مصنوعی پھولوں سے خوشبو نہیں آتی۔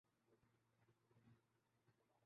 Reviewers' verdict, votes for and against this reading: rejected, 0, 3